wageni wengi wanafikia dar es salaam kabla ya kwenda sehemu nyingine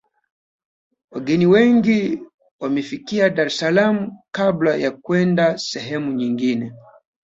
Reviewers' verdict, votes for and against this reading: accepted, 2, 1